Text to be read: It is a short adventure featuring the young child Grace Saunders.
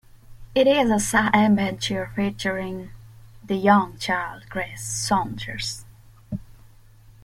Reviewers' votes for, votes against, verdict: 0, 2, rejected